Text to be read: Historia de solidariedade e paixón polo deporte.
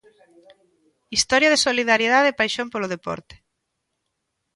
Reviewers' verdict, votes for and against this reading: accepted, 2, 0